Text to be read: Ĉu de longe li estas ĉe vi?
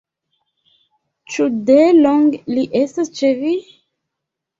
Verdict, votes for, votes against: rejected, 1, 2